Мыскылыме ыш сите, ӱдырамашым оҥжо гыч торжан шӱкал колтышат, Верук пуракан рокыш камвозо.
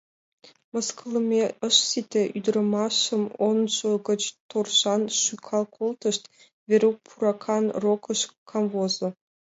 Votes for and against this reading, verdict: 1, 2, rejected